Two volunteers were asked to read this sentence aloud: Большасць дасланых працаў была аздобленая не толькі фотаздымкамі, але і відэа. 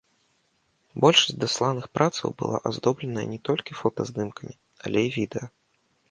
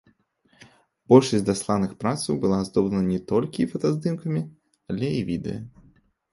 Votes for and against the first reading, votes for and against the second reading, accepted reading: 2, 0, 0, 2, first